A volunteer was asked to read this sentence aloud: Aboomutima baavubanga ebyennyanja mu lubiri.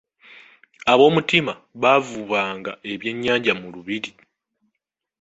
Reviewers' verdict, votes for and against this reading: accepted, 2, 0